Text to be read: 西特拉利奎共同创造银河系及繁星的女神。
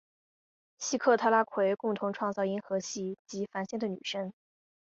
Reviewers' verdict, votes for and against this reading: rejected, 0, 2